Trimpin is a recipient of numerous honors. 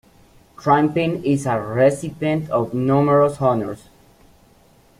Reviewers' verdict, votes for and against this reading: accepted, 2, 0